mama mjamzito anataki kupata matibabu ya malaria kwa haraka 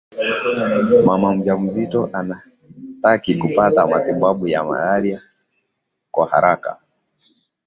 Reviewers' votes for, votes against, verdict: 2, 0, accepted